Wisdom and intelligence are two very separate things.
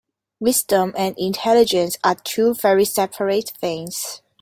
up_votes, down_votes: 2, 0